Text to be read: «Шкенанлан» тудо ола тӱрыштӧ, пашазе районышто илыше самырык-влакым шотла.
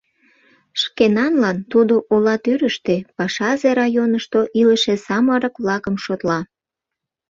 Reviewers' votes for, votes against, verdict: 2, 0, accepted